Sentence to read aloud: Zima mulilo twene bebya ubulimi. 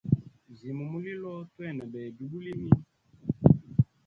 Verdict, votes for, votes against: rejected, 1, 2